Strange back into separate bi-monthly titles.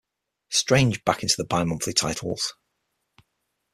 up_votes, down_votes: 3, 6